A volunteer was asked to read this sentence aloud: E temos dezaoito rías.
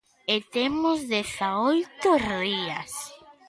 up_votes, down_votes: 0, 2